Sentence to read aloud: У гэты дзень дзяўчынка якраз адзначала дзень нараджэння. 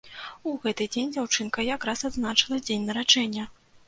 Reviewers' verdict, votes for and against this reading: rejected, 0, 2